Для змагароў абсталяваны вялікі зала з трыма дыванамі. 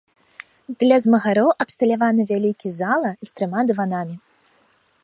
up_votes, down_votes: 2, 1